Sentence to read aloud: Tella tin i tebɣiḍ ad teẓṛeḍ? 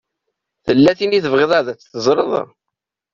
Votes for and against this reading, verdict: 2, 0, accepted